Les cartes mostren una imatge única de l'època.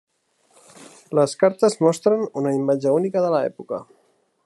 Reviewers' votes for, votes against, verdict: 3, 1, accepted